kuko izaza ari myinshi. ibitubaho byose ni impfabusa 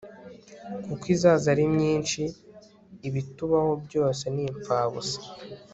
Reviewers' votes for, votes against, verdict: 1, 2, rejected